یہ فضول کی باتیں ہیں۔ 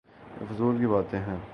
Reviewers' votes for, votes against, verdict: 2, 2, rejected